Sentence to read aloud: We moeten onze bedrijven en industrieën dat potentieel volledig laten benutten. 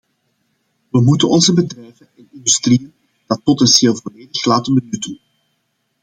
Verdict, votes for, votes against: rejected, 0, 2